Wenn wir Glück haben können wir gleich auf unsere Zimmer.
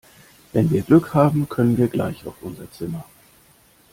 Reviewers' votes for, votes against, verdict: 2, 0, accepted